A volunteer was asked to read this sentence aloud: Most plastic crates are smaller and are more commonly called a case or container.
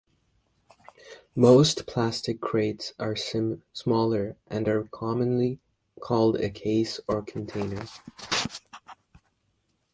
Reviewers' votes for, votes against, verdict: 1, 2, rejected